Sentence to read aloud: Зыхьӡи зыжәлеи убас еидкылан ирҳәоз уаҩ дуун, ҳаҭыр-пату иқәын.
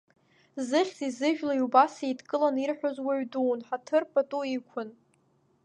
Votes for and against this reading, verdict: 2, 0, accepted